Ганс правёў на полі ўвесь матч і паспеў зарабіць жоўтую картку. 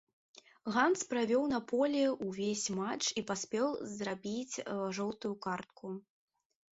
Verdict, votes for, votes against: rejected, 1, 2